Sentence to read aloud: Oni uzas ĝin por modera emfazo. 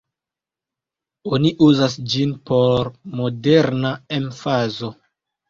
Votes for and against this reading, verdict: 0, 2, rejected